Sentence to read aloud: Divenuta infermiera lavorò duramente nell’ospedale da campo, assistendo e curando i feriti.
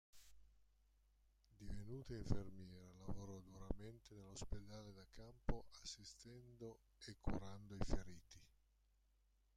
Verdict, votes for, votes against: rejected, 0, 2